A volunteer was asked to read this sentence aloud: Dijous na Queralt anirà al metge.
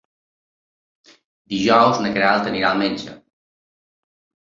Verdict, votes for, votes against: accepted, 3, 0